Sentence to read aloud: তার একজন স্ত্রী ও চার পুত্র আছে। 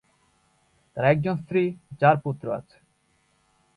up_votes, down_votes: 1, 2